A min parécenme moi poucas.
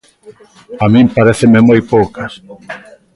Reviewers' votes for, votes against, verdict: 1, 2, rejected